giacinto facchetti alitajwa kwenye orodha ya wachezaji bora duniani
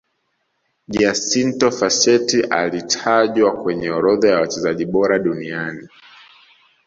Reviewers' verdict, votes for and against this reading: accepted, 2, 0